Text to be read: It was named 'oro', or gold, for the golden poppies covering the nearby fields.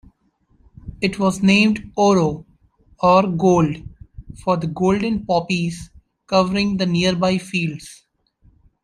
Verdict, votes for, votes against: accepted, 2, 0